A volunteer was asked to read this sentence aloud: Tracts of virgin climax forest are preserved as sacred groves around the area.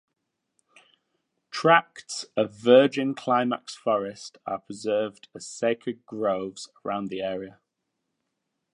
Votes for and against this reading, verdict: 2, 0, accepted